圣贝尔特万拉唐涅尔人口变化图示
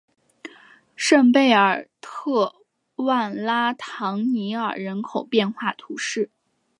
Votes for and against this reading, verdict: 4, 0, accepted